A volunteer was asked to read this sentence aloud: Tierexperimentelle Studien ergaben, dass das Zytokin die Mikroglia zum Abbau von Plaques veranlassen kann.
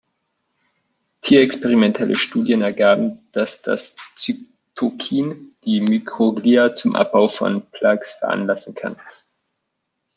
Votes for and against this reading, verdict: 0, 2, rejected